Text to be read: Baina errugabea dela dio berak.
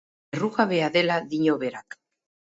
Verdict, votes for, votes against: rejected, 2, 6